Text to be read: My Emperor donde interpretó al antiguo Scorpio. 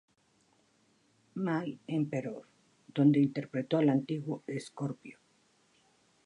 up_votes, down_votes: 1, 2